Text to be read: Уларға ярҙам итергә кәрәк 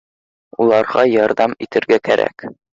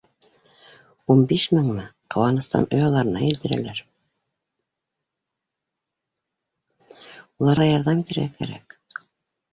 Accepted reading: first